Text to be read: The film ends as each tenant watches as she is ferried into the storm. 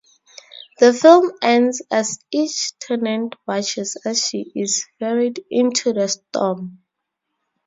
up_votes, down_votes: 2, 2